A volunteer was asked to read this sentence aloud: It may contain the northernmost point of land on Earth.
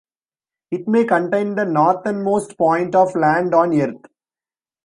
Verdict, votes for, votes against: accepted, 2, 0